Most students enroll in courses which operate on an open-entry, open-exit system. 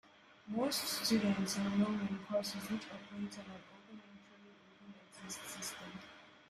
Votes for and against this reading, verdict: 0, 2, rejected